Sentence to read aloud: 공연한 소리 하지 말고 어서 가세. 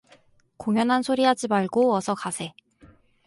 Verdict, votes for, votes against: accepted, 4, 0